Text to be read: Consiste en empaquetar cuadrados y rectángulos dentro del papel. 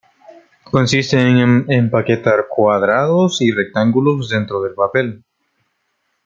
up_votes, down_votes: 1, 2